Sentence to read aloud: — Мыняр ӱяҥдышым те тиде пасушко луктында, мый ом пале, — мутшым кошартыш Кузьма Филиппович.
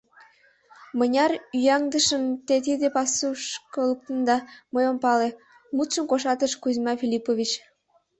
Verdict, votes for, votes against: rejected, 1, 2